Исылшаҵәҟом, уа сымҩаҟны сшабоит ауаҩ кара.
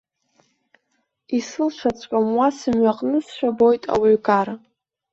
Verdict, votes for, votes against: rejected, 1, 2